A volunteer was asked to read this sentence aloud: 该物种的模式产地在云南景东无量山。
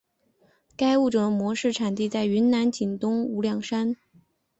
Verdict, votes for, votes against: accepted, 4, 0